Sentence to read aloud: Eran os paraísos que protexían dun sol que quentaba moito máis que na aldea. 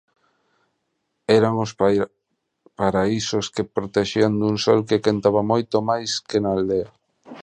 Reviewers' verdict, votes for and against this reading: rejected, 0, 2